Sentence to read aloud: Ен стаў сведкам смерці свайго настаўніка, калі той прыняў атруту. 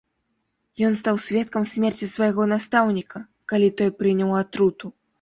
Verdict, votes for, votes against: rejected, 0, 2